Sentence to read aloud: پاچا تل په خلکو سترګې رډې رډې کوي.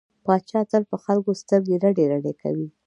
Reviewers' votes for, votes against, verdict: 2, 0, accepted